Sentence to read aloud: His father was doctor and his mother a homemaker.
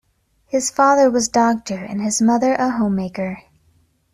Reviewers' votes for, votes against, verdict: 2, 0, accepted